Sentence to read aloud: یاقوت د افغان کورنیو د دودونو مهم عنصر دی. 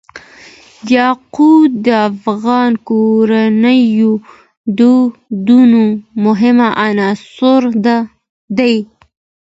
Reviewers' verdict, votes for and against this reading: accepted, 2, 0